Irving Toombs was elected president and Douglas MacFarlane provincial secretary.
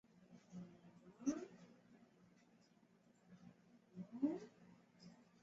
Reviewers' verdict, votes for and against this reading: rejected, 0, 2